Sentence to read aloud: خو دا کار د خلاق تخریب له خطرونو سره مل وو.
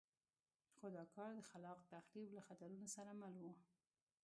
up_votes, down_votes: 1, 2